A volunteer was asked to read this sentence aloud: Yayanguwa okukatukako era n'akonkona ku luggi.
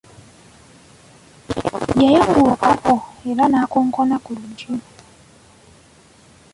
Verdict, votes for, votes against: rejected, 0, 2